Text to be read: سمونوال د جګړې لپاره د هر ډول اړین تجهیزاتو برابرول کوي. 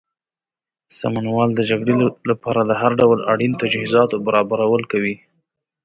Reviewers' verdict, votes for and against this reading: accepted, 2, 0